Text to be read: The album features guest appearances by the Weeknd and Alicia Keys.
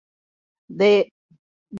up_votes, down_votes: 0, 2